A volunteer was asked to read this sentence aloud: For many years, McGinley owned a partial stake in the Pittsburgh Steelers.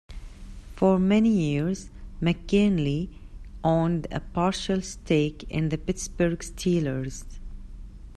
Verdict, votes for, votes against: accepted, 2, 0